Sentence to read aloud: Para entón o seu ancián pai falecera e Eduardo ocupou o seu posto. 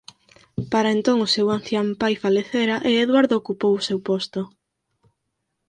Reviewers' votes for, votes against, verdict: 4, 2, accepted